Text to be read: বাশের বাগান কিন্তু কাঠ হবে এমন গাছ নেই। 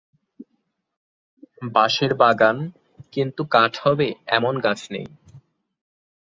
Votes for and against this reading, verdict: 2, 0, accepted